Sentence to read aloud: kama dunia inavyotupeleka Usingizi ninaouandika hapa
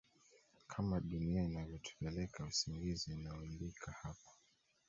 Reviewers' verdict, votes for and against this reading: rejected, 1, 2